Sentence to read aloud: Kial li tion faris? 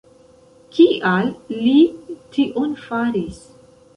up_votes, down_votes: 2, 1